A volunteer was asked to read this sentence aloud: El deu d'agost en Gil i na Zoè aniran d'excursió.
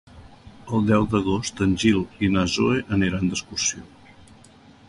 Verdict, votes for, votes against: rejected, 1, 2